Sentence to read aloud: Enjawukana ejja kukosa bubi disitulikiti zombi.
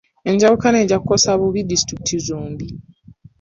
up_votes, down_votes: 3, 0